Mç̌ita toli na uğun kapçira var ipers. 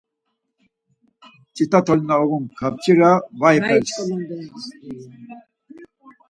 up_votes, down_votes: 2, 4